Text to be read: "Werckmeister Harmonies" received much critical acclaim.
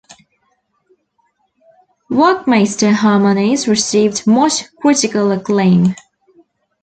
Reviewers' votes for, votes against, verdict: 2, 0, accepted